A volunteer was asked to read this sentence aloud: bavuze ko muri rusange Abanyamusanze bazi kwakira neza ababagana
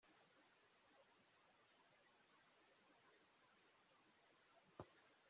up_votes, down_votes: 0, 2